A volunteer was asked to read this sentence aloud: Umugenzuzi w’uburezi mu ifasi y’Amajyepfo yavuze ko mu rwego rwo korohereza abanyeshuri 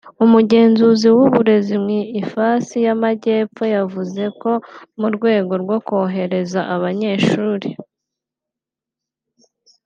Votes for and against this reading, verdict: 2, 0, accepted